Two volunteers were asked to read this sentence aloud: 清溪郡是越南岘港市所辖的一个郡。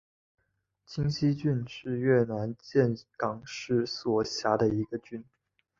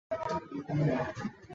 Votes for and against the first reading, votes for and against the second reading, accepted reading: 3, 0, 0, 2, first